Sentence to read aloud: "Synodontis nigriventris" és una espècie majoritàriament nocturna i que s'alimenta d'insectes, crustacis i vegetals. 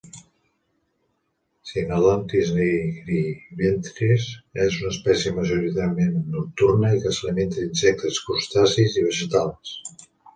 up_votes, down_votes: 2, 1